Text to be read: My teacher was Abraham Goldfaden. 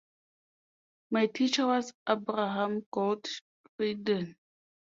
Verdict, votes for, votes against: accepted, 3, 0